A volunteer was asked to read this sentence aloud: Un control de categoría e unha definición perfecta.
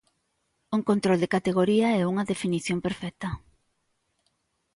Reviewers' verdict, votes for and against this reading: accepted, 2, 0